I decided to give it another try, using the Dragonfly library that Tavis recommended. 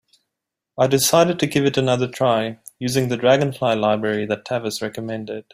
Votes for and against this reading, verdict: 3, 0, accepted